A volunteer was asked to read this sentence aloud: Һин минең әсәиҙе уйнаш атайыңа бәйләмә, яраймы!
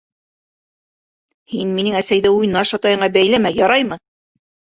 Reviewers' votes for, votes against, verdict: 2, 0, accepted